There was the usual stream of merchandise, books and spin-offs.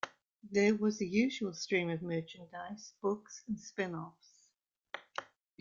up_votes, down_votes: 2, 1